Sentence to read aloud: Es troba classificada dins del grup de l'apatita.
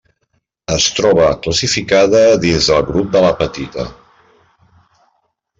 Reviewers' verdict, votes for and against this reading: accepted, 2, 0